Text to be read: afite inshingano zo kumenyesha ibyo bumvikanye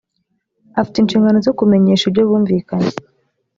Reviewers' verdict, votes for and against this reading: accepted, 2, 0